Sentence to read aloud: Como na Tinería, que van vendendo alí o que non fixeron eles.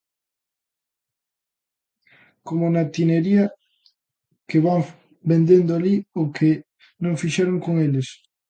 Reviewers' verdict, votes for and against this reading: rejected, 0, 2